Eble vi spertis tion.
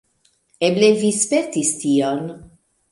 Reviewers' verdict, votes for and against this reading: accepted, 2, 1